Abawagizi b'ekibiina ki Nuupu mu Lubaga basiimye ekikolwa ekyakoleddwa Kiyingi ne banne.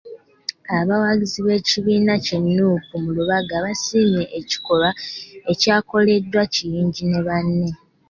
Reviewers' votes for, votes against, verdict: 2, 0, accepted